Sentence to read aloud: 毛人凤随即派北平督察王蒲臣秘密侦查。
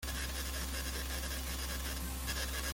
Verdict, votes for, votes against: rejected, 0, 2